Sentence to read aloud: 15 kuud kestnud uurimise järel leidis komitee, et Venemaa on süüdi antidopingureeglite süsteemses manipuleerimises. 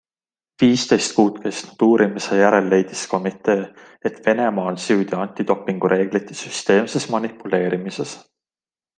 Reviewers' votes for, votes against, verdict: 0, 2, rejected